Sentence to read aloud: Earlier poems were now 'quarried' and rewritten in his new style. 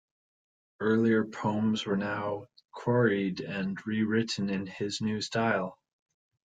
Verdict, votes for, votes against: accepted, 2, 0